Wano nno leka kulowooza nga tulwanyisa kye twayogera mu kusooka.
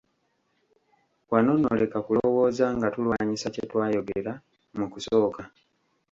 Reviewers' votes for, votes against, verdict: 2, 1, accepted